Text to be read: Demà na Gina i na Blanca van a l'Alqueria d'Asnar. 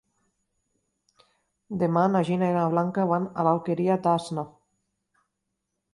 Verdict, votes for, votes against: accepted, 2, 0